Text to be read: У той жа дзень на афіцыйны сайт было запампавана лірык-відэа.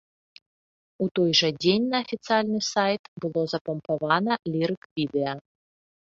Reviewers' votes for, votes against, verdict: 1, 2, rejected